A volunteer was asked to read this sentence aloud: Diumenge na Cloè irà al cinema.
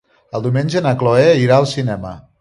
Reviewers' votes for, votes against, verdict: 1, 2, rejected